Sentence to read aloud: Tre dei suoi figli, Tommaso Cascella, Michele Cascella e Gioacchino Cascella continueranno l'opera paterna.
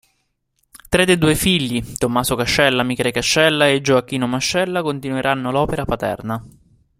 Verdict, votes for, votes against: rejected, 0, 2